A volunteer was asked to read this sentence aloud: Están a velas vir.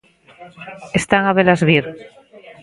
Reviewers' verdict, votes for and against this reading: rejected, 1, 2